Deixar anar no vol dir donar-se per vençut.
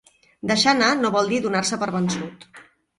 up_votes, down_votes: 3, 0